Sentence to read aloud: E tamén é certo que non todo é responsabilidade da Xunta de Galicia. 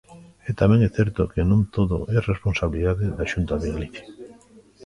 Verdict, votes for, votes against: rejected, 1, 2